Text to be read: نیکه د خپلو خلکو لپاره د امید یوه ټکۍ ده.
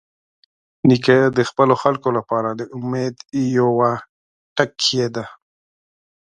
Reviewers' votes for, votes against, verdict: 1, 2, rejected